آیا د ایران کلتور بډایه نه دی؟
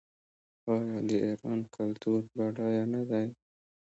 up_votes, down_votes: 2, 1